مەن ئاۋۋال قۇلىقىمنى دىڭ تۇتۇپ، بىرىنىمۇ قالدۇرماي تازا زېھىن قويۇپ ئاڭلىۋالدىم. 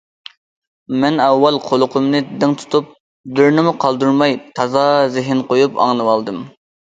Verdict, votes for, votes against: accepted, 2, 0